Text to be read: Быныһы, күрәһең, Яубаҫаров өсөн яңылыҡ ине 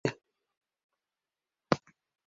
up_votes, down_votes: 0, 2